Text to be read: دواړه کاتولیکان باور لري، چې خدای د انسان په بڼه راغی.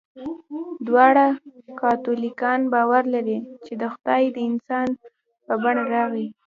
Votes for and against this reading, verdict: 1, 2, rejected